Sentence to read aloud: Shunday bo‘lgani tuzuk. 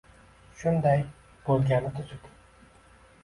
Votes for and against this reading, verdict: 2, 0, accepted